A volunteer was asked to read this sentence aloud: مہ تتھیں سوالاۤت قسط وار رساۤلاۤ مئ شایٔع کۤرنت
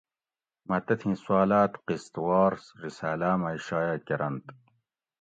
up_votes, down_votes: 2, 0